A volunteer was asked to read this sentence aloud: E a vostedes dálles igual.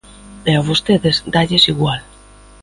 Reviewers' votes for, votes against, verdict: 2, 0, accepted